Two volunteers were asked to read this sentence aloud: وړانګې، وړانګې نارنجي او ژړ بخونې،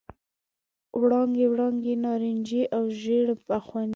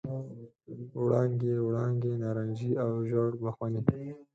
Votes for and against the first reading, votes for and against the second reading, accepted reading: 2, 0, 2, 4, first